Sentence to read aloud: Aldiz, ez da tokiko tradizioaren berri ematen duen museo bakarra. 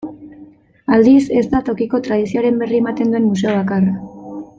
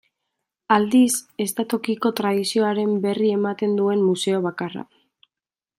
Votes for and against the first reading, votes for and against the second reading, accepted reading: 2, 0, 1, 2, first